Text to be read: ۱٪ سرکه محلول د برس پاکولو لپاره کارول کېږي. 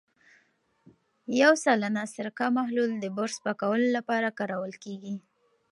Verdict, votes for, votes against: rejected, 0, 2